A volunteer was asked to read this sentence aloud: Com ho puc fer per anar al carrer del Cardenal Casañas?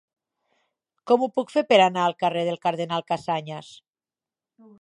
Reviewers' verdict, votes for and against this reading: accepted, 4, 0